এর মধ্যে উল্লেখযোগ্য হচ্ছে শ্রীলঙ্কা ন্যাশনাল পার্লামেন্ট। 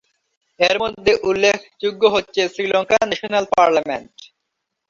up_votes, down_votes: 2, 0